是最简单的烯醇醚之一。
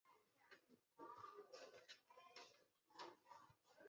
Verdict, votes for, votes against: rejected, 0, 3